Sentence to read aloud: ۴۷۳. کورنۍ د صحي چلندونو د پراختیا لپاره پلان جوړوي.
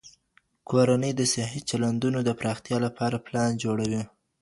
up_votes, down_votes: 0, 2